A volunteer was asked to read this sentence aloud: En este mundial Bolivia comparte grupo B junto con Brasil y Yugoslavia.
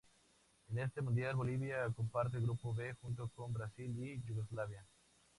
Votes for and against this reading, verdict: 2, 0, accepted